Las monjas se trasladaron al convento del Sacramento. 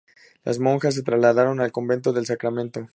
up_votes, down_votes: 2, 0